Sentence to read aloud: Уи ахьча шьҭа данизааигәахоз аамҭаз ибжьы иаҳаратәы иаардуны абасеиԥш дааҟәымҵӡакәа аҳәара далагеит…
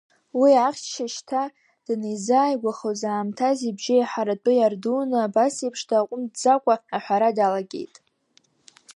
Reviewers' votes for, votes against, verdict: 0, 2, rejected